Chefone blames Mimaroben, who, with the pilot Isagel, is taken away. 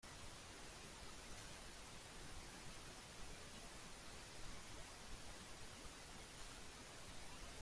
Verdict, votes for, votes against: rejected, 0, 2